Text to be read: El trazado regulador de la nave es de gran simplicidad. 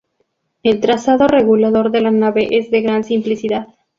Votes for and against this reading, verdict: 4, 0, accepted